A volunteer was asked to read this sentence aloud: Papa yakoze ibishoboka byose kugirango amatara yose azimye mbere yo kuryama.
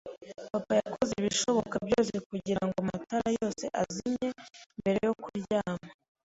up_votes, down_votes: 3, 0